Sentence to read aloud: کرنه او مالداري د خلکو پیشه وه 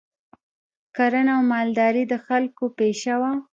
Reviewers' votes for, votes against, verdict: 2, 0, accepted